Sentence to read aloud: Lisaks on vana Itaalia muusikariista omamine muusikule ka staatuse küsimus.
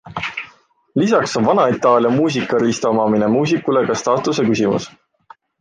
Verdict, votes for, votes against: accepted, 2, 0